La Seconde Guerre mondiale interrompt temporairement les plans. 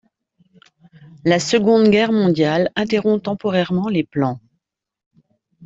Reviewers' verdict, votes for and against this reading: accepted, 2, 0